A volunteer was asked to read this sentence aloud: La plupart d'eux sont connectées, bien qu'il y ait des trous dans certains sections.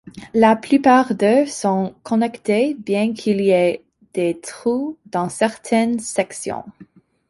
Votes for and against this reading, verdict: 2, 1, accepted